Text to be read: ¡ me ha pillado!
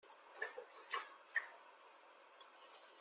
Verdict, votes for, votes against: rejected, 0, 2